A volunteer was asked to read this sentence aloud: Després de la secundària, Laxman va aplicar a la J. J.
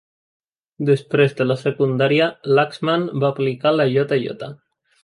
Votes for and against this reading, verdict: 0, 2, rejected